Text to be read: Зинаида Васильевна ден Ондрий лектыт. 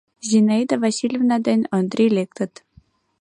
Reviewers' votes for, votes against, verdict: 2, 0, accepted